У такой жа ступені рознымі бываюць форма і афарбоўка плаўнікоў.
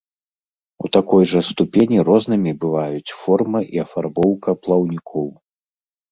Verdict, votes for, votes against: accepted, 2, 0